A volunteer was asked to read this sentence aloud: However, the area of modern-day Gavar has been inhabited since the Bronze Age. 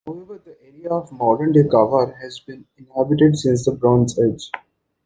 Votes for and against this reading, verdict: 0, 2, rejected